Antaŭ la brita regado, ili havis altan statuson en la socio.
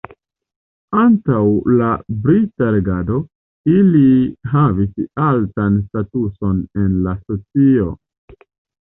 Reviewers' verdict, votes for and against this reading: rejected, 1, 2